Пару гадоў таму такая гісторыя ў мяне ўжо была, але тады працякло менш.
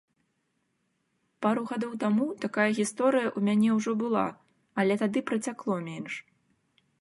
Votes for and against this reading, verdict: 2, 0, accepted